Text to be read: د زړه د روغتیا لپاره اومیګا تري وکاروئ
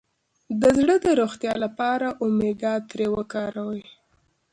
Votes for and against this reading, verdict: 2, 1, accepted